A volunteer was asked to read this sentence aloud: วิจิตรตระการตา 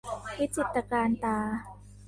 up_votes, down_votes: 1, 2